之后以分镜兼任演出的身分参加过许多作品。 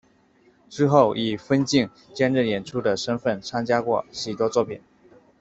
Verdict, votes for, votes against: accepted, 2, 0